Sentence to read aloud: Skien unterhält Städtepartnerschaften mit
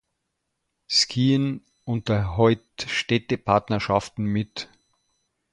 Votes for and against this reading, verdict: 1, 2, rejected